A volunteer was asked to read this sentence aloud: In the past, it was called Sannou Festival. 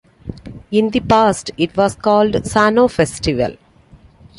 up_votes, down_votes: 2, 0